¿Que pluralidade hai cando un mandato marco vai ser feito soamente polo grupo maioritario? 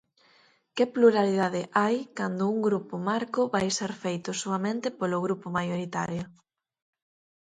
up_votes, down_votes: 0, 4